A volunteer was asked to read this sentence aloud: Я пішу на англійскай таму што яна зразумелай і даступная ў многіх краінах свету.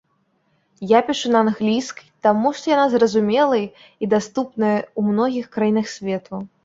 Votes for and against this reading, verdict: 3, 0, accepted